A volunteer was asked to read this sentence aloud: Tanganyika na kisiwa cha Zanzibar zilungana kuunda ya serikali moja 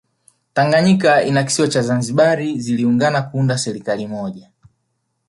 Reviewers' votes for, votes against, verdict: 2, 0, accepted